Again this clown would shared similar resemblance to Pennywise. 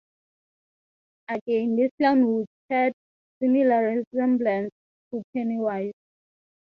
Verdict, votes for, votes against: accepted, 6, 0